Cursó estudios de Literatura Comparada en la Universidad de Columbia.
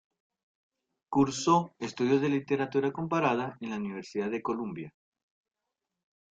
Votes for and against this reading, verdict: 2, 0, accepted